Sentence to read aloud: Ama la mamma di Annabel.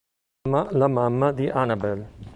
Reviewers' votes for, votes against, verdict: 0, 2, rejected